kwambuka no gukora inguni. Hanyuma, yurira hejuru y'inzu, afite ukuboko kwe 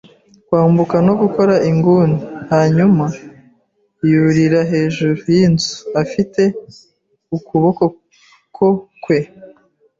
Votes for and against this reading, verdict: 1, 2, rejected